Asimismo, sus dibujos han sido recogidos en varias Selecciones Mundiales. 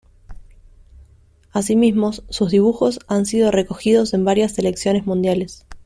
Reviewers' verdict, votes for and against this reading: accepted, 2, 1